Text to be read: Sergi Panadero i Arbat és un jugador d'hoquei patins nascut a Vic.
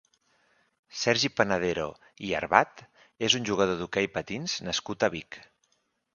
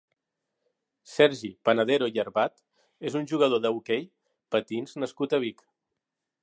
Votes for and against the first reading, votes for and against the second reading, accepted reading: 2, 0, 1, 2, first